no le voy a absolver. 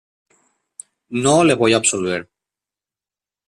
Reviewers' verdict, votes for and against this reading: accepted, 2, 0